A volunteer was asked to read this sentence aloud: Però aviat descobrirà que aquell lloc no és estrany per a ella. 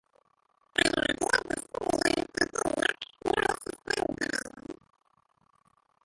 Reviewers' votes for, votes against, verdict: 0, 2, rejected